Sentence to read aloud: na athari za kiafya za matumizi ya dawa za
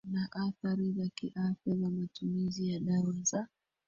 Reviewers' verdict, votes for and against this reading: rejected, 0, 2